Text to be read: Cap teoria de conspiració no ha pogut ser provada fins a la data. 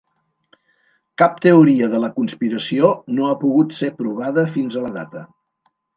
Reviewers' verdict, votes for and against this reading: rejected, 1, 2